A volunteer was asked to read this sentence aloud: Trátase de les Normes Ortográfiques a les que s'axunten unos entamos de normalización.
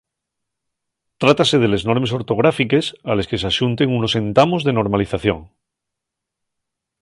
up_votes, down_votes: 2, 0